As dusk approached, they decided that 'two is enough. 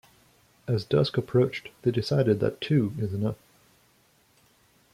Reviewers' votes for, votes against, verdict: 2, 1, accepted